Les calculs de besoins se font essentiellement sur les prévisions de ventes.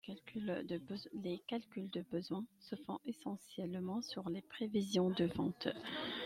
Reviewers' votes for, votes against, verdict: 2, 1, accepted